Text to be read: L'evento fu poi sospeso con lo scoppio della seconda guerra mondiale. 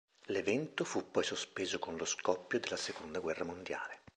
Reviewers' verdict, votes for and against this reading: accepted, 3, 0